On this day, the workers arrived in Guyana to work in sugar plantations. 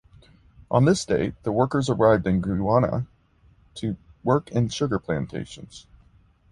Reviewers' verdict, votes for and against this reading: rejected, 0, 2